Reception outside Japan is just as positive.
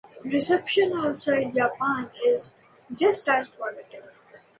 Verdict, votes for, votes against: accepted, 2, 0